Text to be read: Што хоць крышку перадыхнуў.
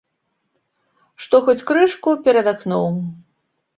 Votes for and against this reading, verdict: 1, 2, rejected